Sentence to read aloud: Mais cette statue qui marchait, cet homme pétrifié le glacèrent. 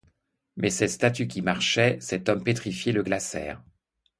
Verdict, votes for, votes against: accepted, 2, 0